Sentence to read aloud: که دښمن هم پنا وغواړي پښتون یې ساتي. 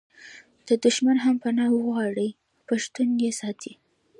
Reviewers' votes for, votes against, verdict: 1, 2, rejected